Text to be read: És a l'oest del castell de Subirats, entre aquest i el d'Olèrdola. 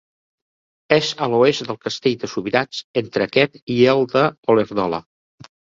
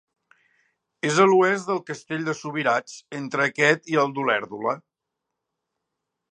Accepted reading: second